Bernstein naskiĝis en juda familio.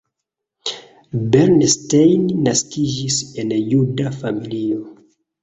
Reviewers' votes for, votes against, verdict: 2, 0, accepted